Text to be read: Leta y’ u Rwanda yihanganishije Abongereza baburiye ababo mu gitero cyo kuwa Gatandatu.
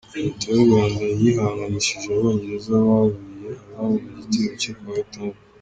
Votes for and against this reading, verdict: 0, 2, rejected